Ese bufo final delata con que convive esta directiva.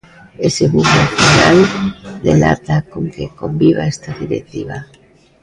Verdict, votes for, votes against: rejected, 0, 2